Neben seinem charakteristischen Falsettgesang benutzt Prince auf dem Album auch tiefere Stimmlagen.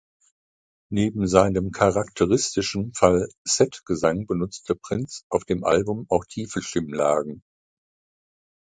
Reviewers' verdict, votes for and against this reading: rejected, 1, 2